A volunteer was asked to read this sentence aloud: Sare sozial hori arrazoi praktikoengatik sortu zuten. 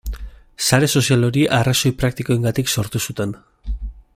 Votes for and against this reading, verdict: 2, 0, accepted